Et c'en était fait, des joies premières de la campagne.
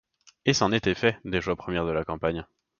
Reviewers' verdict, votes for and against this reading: accepted, 2, 0